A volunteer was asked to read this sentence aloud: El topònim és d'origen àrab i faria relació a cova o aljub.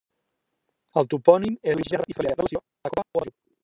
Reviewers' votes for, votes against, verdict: 0, 2, rejected